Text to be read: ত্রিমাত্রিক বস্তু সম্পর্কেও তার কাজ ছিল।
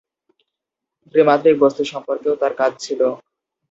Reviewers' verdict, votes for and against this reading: rejected, 2, 4